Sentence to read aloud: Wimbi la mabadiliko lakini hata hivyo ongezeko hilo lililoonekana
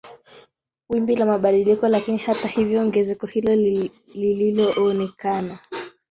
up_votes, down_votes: 0, 2